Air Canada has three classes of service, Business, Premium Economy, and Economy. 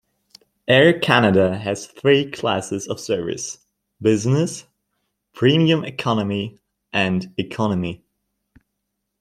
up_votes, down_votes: 2, 0